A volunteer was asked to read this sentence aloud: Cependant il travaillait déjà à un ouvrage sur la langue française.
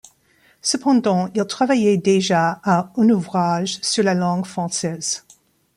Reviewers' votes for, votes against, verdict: 1, 2, rejected